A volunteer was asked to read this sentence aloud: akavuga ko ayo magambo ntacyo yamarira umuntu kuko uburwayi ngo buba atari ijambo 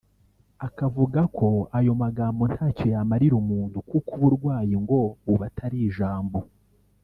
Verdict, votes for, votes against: rejected, 0, 2